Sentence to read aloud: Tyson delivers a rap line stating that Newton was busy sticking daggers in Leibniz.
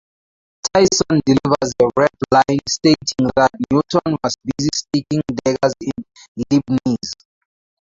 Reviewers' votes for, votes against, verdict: 0, 2, rejected